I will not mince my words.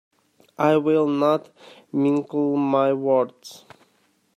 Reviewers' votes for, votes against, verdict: 0, 2, rejected